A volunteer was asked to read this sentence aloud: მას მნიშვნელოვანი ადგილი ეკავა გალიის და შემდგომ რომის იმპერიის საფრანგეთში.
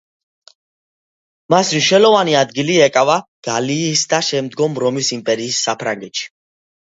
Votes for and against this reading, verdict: 2, 1, accepted